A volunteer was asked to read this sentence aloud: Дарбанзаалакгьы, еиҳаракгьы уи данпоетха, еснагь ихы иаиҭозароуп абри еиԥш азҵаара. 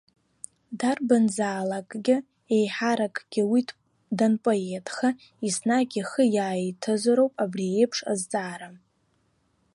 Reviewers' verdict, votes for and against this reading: accepted, 2, 1